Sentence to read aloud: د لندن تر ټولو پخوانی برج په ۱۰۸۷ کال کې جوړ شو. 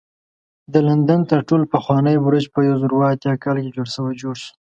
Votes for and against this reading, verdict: 0, 2, rejected